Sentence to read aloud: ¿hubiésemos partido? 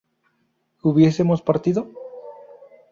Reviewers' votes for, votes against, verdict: 4, 0, accepted